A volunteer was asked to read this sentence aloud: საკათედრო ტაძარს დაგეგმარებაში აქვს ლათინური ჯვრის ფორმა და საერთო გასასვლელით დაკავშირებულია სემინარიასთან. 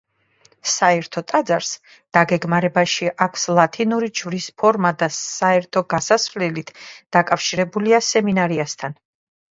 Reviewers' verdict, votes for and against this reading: rejected, 1, 2